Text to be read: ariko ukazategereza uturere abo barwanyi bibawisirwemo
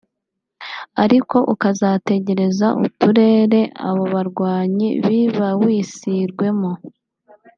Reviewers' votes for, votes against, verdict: 5, 0, accepted